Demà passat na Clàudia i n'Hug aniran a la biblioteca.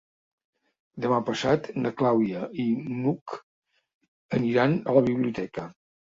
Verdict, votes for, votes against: accepted, 3, 0